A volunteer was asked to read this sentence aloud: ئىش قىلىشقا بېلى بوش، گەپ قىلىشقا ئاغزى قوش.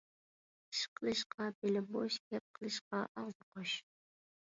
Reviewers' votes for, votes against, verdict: 2, 1, accepted